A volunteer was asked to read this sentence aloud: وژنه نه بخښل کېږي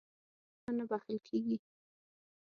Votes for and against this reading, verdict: 0, 6, rejected